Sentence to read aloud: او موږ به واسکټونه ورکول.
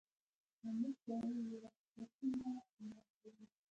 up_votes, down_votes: 0, 2